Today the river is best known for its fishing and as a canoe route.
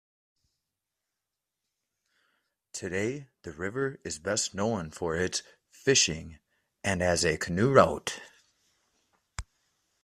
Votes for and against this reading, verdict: 2, 0, accepted